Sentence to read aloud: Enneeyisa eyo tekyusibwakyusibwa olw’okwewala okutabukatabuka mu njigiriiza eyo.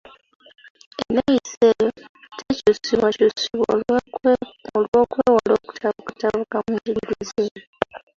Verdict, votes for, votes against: rejected, 1, 2